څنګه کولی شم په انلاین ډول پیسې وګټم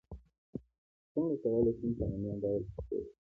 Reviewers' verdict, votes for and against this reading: rejected, 1, 2